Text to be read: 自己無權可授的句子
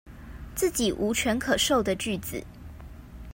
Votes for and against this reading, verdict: 2, 0, accepted